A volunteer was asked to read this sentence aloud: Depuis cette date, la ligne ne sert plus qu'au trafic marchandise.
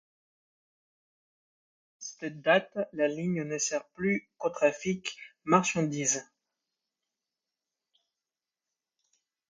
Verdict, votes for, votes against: accepted, 2, 1